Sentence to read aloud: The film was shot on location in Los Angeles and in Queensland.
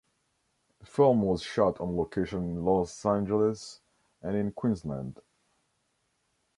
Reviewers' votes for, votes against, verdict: 2, 1, accepted